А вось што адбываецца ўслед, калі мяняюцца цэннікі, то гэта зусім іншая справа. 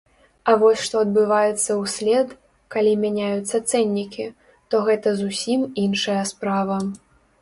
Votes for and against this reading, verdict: 2, 0, accepted